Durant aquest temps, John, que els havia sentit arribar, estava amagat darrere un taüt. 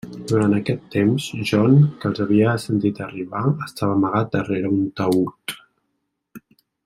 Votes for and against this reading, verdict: 2, 0, accepted